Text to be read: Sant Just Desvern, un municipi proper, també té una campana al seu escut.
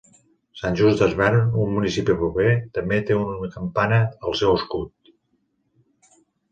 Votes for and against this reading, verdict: 1, 2, rejected